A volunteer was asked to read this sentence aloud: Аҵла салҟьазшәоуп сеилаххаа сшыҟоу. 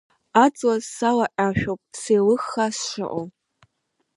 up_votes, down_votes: 0, 2